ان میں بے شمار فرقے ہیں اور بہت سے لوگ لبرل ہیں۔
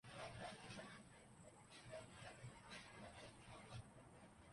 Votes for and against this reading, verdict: 0, 2, rejected